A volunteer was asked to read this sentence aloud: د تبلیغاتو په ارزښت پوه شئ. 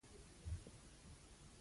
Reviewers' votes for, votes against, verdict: 0, 2, rejected